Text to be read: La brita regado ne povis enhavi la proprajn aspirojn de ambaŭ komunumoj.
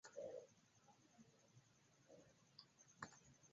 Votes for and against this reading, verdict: 1, 2, rejected